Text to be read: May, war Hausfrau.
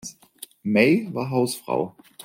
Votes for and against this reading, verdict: 2, 0, accepted